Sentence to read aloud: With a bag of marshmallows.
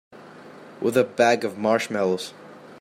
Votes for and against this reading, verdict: 2, 1, accepted